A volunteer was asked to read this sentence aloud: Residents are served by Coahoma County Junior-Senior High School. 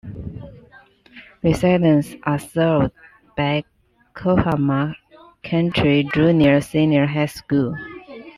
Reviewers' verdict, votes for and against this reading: accepted, 2, 1